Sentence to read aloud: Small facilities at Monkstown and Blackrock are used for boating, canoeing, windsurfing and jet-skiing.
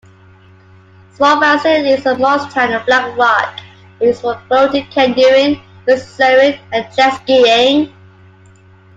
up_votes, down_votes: 1, 2